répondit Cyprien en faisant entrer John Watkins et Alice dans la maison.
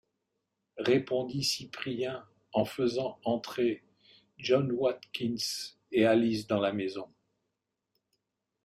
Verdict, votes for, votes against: accepted, 2, 0